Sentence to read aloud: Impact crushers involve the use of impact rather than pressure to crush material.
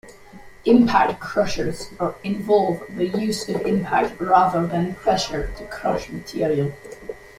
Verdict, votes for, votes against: rejected, 1, 2